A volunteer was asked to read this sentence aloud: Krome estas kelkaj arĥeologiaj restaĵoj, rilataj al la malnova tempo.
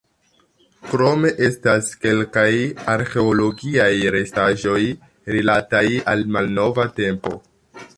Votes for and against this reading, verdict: 0, 2, rejected